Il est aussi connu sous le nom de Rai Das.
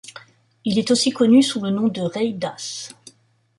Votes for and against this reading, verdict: 2, 1, accepted